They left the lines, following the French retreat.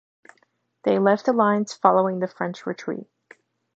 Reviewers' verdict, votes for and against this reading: accepted, 2, 0